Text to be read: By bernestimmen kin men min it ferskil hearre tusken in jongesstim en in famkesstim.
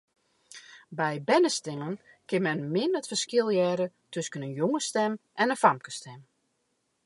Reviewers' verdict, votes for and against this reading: rejected, 0, 2